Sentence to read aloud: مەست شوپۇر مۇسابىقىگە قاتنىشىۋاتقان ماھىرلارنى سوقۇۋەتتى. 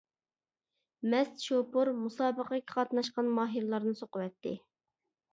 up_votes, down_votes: 1, 2